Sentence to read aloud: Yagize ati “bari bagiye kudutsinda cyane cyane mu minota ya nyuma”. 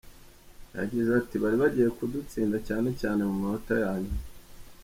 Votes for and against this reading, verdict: 0, 2, rejected